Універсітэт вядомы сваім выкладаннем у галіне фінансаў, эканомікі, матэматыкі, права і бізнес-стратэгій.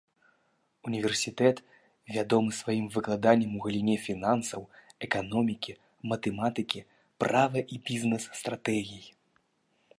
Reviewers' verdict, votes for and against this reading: accepted, 2, 0